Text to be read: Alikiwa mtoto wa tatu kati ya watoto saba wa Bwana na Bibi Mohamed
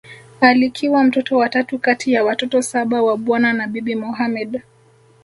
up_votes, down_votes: 1, 2